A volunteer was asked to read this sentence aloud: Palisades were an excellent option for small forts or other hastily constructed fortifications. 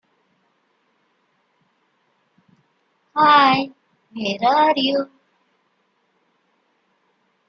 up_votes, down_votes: 0, 2